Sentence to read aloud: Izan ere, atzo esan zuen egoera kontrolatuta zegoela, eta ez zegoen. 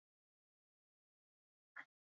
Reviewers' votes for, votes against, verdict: 0, 2, rejected